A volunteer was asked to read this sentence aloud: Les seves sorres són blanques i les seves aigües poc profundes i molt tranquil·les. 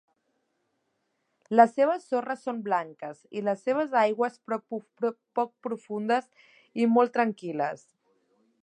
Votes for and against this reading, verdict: 0, 2, rejected